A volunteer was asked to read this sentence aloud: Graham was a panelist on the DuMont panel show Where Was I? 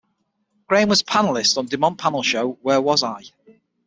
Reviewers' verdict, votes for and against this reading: accepted, 6, 0